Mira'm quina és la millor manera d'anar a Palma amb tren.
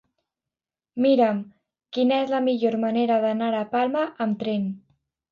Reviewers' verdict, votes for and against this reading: accepted, 2, 0